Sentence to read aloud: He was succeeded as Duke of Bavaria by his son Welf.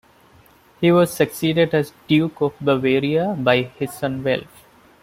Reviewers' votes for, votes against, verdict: 1, 2, rejected